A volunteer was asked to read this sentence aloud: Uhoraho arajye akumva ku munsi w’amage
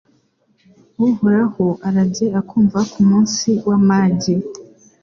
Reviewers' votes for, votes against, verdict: 2, 0, accepted